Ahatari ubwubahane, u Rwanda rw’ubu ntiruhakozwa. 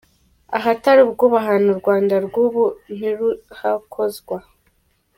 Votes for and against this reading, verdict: 2, 1, accepted